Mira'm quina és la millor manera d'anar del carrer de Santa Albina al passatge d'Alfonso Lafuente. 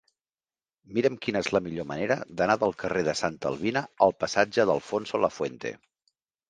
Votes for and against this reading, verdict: 2, 0, accepted